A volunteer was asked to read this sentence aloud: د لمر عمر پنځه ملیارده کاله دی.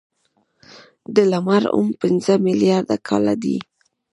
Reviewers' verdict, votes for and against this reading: rejected, 1, 2